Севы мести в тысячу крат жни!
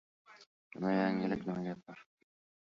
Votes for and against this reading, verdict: 0, 2, rejected